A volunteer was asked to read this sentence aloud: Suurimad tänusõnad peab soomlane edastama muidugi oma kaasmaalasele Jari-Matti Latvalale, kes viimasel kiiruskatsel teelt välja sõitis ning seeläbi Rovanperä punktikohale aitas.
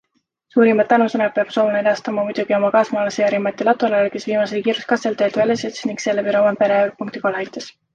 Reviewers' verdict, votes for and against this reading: accepted, 2, 0